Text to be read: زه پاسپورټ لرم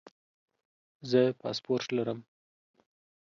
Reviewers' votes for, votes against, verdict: 2, 0, accepted